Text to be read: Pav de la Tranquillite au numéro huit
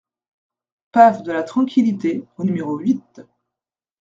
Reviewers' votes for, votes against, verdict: 2, 0, accepted